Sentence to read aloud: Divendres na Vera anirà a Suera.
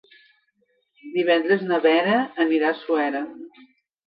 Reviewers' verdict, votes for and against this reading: accepted, 3, 0